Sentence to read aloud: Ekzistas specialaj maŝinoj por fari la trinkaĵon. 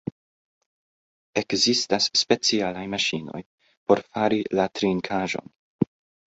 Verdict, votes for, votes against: rejected, 0, 2